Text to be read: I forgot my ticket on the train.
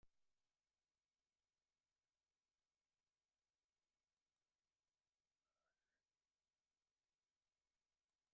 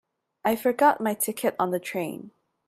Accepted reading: second